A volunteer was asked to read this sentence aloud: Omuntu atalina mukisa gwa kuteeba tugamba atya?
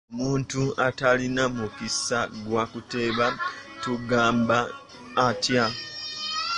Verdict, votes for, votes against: rejected, 0, 2